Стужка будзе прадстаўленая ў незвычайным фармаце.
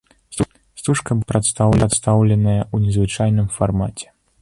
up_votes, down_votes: 0, 2